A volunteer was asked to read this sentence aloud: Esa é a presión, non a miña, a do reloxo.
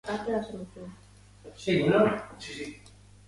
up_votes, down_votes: 0, 2